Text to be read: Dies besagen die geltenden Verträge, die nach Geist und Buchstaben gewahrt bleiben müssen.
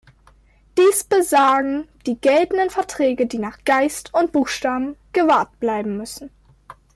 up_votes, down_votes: 2, 0